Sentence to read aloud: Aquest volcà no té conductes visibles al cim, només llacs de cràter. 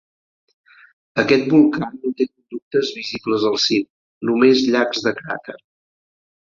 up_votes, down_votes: 0, 4